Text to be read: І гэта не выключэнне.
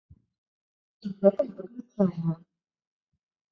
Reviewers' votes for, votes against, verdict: 0, 2, rejected